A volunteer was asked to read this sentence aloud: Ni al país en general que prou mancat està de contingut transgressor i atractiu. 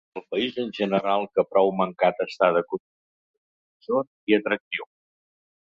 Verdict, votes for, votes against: rejected, 0, 3